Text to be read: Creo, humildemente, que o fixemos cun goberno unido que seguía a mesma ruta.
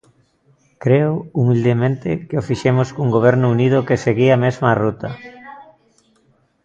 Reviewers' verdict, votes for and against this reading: rejected, 0, 2